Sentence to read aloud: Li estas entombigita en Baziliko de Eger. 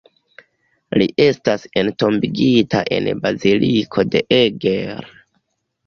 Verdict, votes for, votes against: accepted, 2, 0